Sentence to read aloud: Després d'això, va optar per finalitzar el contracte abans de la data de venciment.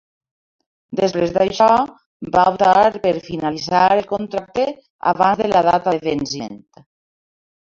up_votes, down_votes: 0, 2